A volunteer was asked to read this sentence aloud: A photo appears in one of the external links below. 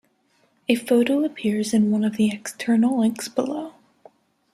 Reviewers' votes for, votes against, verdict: 2, 0, accepted